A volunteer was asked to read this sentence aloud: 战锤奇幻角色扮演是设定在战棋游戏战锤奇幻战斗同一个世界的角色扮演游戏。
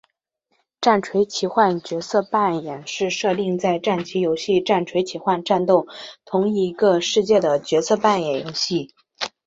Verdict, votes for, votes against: accepted, 3, 0